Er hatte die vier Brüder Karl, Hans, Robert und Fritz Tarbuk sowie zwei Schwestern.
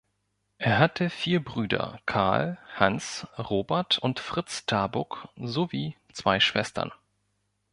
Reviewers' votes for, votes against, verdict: 1, 2, rejected